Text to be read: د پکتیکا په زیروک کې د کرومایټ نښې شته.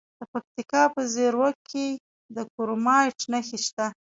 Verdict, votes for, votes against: rejected, 1, 2